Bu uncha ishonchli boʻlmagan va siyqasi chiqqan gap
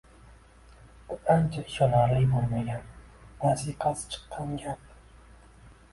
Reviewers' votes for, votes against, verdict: 2, 0, accepted